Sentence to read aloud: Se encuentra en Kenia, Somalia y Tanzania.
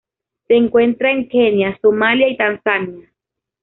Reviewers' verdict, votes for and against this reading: accepted, 2, 0